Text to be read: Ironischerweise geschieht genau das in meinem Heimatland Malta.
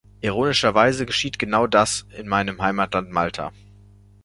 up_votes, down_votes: 2, 0